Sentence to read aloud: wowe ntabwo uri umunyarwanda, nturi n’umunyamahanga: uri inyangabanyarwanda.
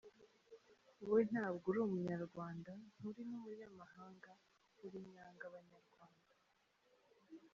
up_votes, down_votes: 1, 2